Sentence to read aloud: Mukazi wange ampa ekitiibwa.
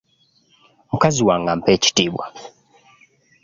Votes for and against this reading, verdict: 0, 2, rejected